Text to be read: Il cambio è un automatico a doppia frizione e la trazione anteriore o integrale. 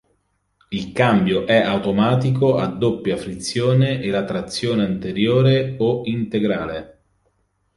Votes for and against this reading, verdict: 1, 2, rejected